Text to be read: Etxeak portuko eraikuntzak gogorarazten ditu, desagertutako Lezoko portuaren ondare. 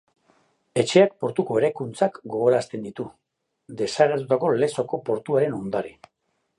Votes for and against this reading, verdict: 2, 0, accepted